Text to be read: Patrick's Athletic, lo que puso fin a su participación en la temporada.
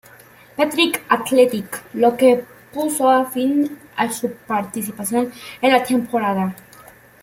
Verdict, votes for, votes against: rejected, 0, 2